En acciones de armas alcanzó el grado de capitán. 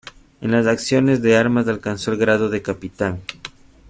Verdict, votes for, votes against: rejected, 1, 2